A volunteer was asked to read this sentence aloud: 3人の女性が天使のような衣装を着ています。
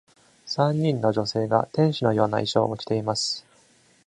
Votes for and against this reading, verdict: 0, 2, rejected